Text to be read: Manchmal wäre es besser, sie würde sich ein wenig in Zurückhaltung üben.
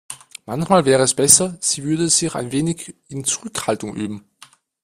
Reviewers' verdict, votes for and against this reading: rejected, 0, 2